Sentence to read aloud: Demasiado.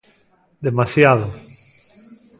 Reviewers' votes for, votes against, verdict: 2, 0, accepted